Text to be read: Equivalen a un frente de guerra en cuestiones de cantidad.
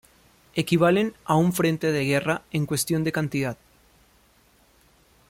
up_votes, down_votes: 1, 2